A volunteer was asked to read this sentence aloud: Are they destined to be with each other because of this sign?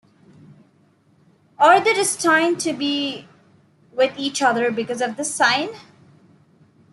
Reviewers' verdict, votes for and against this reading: accepted, 2, 0